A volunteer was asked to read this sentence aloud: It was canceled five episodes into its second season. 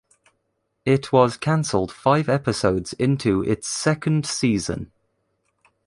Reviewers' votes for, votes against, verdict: 2, 0, accepted